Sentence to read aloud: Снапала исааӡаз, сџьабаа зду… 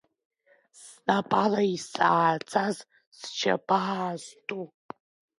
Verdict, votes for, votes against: rejected, 0, 2